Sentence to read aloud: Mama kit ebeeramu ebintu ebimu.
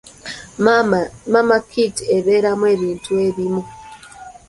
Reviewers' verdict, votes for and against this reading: accepted, 2, 0